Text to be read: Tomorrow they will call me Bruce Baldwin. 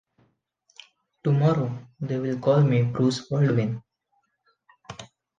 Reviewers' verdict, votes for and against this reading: rejected, 1, 2